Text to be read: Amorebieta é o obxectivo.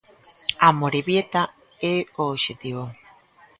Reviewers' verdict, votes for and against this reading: accepted, 2, 0